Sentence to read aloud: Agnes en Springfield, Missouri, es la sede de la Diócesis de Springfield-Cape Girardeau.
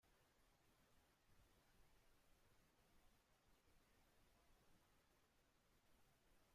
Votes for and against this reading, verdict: 0, 2, rejected